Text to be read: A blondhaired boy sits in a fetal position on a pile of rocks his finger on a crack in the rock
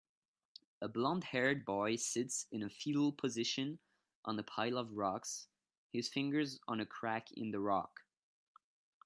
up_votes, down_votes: 1, 2